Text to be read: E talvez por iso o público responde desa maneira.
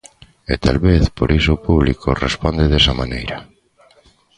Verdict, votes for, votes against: accepted, 2, 1